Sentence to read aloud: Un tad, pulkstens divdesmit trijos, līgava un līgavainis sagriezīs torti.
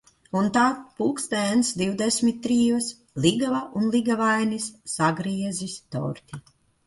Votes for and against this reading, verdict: 1, 2, rejected